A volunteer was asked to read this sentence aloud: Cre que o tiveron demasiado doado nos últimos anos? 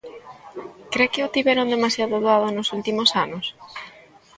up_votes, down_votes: 1, 2